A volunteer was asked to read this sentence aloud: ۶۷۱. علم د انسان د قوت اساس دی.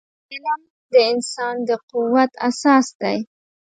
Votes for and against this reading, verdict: 0, 2, rejected